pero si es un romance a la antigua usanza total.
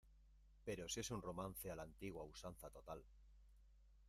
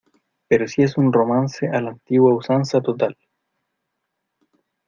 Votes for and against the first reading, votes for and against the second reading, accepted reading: 1, 2, 2, 1, second